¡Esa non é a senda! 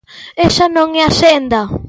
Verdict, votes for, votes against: accepted, 2, 0